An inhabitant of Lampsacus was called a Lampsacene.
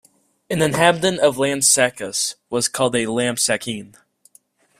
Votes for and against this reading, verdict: 2, 0, accepted